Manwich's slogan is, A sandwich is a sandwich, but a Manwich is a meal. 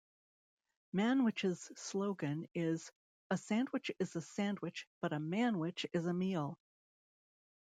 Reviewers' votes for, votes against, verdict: 2, 0, accepted